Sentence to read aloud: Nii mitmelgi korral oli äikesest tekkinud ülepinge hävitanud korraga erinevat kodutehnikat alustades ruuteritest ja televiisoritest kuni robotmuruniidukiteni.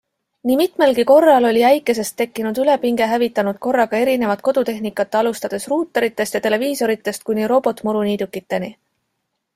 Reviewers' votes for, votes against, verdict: 2, 0, accepted